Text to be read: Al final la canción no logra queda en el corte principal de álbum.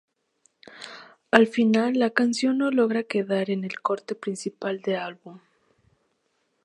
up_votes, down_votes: 0, 2